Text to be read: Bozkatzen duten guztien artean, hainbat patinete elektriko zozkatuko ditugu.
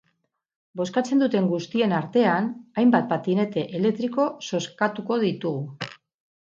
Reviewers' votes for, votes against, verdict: 6, 0, accepted